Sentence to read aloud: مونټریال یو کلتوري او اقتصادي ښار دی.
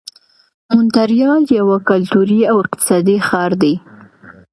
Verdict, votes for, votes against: accepted, 2, 0